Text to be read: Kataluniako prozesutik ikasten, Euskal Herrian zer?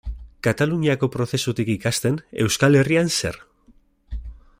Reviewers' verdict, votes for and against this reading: accepted, 2, 0